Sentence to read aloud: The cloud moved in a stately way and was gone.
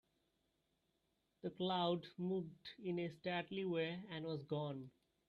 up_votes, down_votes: 1, 2